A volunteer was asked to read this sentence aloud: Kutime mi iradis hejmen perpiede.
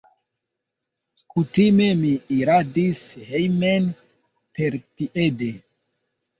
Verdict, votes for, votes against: accepted, 2, 1